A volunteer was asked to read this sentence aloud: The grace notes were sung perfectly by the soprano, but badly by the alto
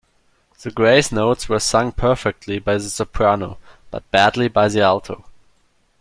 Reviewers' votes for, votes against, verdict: 2, 0, accepted